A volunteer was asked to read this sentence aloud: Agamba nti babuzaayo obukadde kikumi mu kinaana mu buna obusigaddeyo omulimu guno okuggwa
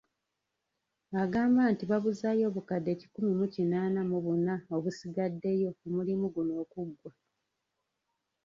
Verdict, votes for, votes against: rejected, 1, 2